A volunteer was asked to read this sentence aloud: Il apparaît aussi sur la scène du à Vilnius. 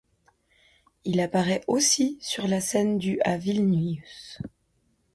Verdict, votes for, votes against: accepted, 2, 0